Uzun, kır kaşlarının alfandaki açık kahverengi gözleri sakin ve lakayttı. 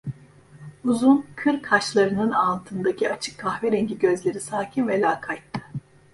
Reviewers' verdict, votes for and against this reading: rejected, 1, 2